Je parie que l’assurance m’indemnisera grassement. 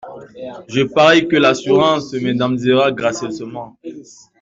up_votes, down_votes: 1, 2